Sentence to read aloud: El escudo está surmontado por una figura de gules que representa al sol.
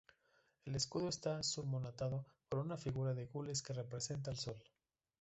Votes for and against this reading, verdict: 0, 2, rejected